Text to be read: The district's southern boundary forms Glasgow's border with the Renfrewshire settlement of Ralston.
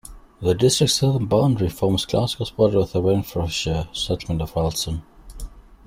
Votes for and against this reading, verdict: 2, 0, accepted